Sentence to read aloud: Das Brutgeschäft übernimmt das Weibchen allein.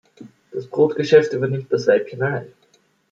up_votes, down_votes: 2, 0